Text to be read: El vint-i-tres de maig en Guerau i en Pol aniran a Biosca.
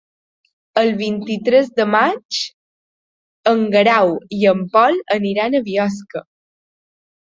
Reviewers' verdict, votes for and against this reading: accepted, 3, 0